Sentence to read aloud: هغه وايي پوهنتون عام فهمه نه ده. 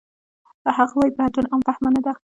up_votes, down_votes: 0, 2